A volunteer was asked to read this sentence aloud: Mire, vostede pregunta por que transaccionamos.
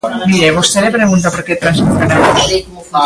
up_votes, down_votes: 0, 2